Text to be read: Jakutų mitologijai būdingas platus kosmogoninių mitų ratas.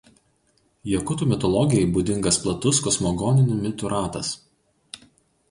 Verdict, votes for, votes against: accepted, 2, 0